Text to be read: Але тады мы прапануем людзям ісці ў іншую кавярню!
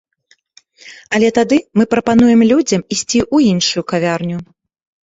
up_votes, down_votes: 2, 0